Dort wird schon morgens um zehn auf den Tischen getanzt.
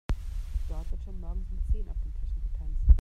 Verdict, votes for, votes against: rejected, 1, 2